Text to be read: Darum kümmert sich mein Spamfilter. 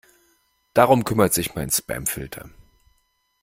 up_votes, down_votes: 2, 0